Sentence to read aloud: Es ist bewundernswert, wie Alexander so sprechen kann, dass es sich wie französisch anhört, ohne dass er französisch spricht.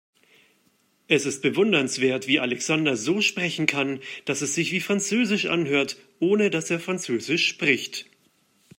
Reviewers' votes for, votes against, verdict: 2, 0, accepted